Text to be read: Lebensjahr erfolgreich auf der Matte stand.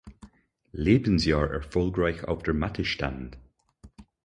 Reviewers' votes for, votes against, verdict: 4, 2, accepted